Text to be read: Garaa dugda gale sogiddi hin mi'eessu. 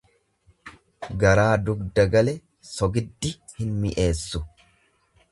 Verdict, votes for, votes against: accepted, 2, 0